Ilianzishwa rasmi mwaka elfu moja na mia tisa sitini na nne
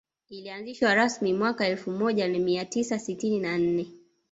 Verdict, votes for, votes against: rejected, 0, 2